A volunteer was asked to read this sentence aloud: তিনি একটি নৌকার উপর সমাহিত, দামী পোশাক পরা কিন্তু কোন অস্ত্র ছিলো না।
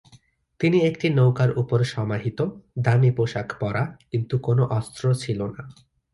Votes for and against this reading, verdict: 1, 2, rejected